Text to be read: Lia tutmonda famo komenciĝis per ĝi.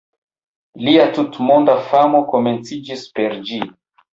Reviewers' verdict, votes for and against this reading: accepted, 2, 1